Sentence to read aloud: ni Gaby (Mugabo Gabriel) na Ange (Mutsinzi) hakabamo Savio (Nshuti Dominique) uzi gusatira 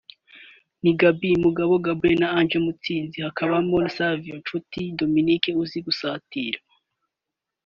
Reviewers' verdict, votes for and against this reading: rejected, 0, 2